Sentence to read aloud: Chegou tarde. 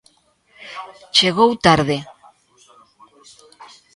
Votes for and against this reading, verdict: 2, 0, accepted